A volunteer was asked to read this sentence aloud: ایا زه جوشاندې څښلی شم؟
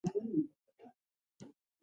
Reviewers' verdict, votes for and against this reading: rejected, 0, 2